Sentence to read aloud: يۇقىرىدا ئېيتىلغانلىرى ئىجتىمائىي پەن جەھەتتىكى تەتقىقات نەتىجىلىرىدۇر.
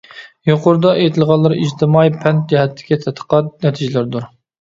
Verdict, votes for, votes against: accepted, 2, 0